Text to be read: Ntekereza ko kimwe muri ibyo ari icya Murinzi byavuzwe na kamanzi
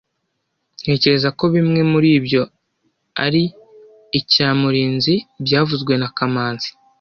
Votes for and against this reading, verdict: 1, 2, rejected